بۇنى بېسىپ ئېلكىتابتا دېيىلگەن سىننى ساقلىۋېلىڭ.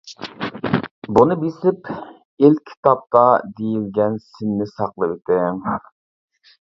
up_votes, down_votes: 0, 2